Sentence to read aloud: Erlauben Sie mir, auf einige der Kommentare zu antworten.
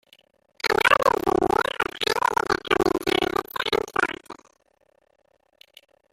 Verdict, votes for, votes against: rejected, 0, 2